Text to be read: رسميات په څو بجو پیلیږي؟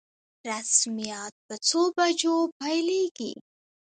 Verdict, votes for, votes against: rejected, 0, 2